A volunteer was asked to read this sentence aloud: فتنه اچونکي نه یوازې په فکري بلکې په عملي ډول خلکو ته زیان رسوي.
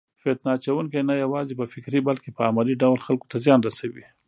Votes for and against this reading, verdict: 2, 0, accepted